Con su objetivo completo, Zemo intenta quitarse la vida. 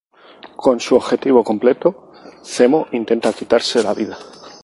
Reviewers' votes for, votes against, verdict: 2, 0, accepted